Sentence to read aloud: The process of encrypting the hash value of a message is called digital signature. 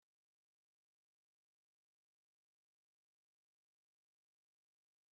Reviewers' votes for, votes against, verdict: 0, 2, rejected